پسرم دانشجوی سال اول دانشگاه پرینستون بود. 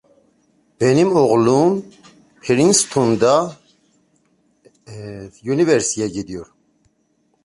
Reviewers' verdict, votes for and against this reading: rejected, 0, 2